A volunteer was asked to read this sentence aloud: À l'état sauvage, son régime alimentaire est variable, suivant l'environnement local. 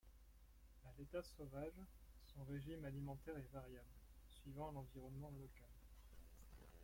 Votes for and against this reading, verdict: 1, 2, rejected